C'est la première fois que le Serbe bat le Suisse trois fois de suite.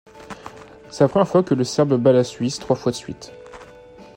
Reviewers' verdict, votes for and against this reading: rejected, 1, 2